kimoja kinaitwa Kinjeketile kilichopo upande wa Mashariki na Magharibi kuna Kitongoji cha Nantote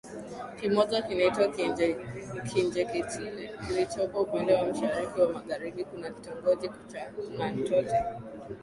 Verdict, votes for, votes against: accepted, 2, 0